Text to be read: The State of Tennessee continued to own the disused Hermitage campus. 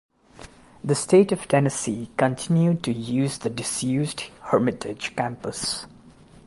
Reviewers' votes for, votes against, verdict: 0, 2, rejected